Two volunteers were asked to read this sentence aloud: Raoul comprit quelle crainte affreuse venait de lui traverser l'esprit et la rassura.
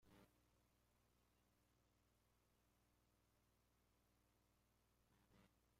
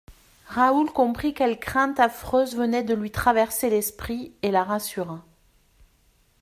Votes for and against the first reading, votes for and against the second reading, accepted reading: 0, 2, 2, 0, second